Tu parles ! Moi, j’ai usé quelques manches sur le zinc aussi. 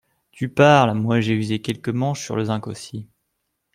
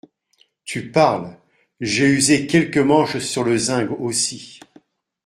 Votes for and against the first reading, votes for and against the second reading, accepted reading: 2, 0, 0, 2, first